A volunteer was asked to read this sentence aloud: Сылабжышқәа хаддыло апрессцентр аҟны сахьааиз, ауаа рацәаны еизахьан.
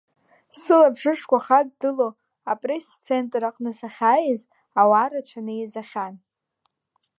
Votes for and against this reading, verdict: 2, 0, accepted